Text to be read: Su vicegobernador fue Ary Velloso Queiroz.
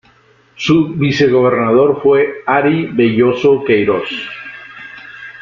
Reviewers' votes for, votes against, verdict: 2, 0, accepted